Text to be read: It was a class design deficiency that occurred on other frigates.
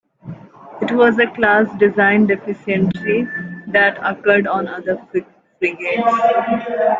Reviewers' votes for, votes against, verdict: 1, 2, rejected